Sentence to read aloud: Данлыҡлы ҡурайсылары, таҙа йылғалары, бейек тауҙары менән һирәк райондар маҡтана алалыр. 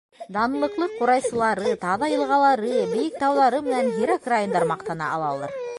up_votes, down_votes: 1, 2